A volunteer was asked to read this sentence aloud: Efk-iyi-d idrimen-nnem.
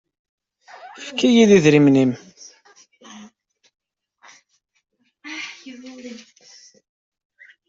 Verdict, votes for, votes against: rejected, 0, 2